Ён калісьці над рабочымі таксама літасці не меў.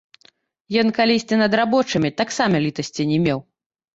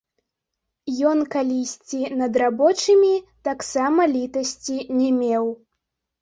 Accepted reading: second